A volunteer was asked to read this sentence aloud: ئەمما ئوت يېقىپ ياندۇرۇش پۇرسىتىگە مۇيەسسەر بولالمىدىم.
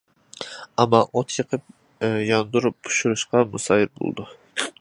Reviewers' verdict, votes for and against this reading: rejected, 0, 2